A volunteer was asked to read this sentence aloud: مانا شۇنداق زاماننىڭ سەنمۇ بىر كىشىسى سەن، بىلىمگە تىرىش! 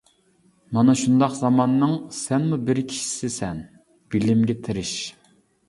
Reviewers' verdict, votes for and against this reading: accepted, 2, 0